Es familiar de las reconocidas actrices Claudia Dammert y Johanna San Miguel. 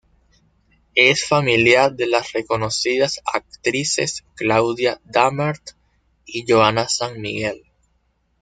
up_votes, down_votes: 2, 0